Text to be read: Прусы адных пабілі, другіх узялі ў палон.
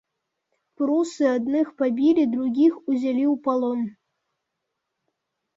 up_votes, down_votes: 2, 0